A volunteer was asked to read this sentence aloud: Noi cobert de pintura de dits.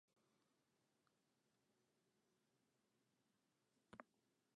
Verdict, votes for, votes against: rejected, 0, 2